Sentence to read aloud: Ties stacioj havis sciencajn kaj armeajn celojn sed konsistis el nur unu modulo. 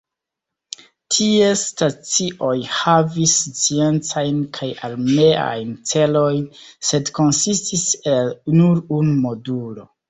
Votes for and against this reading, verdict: 0, 2, rejected